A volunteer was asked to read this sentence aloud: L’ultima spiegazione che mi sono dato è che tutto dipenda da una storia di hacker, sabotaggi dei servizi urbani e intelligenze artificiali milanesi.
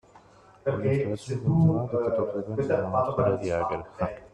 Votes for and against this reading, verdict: 0, 2, rejected